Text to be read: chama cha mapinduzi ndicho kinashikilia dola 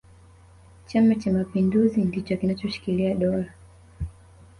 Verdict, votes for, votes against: rejected, 1, 2